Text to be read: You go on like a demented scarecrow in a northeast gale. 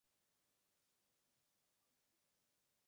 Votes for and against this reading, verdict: 0, 2, rejected